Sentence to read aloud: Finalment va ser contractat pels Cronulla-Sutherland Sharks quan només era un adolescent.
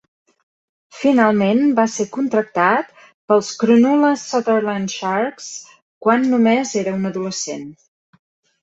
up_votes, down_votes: 2, 0